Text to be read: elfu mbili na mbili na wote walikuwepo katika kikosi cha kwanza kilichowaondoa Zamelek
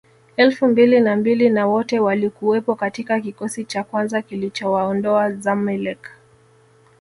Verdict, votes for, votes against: rejected, 1, 2